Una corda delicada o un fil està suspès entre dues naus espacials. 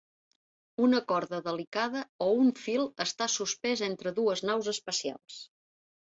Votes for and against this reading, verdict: 2, 0, accepted